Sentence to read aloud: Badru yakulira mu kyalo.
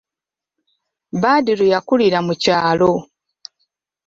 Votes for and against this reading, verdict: 2, 0, accepted